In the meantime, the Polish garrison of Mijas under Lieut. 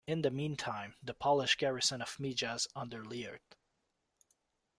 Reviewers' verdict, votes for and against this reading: rejected, 0, 2